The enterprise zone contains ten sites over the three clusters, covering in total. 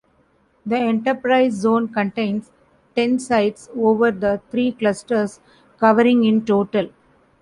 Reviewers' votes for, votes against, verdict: 2, 1, accepted